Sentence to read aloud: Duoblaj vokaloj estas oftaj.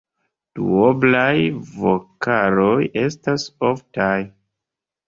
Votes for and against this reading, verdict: 2, 0, accepted